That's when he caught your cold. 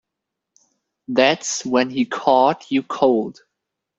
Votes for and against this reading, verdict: 0, 2, rejected